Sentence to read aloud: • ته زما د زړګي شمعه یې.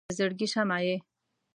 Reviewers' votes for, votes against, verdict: 0, 2, rejected